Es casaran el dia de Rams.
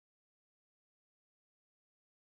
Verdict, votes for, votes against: rejected, 0, 2